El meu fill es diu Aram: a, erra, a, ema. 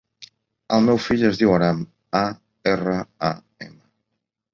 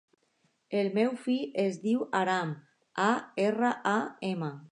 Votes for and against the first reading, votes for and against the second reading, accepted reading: 0, 2, 2, 0, second